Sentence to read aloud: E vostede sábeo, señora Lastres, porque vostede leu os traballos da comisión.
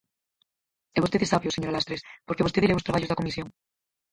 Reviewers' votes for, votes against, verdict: 2, 4, rejected